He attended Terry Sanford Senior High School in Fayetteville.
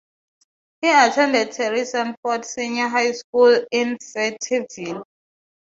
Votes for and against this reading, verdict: 0, 6, rejected